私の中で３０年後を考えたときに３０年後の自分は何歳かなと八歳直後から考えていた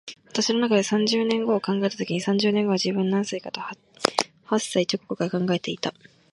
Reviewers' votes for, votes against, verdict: 0, 2, rejected